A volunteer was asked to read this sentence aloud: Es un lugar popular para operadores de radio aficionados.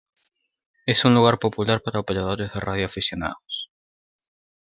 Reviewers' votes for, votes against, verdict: 2, 0, accepted